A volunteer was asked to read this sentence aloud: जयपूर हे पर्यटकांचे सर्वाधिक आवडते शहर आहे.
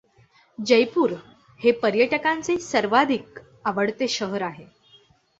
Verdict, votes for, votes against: accepted, 2, 0